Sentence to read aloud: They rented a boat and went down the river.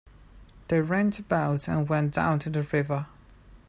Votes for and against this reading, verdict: 0, 2, rejected